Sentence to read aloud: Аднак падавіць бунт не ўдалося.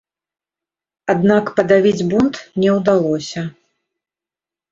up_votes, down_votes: 2, 0